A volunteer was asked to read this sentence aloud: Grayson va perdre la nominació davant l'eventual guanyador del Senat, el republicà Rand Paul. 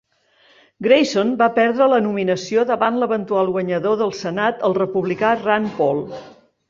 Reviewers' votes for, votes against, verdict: 2, 0, accepted